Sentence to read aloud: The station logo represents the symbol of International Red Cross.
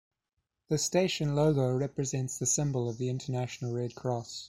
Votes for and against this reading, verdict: 1, 2, rejected